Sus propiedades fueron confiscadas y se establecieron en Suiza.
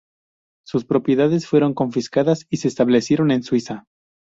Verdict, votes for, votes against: accepted, 2, 0